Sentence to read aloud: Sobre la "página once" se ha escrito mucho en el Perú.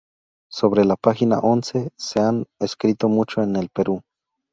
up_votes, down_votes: 0, 2